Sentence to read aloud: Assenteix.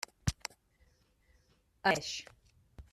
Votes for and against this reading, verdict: 0, 2, rejected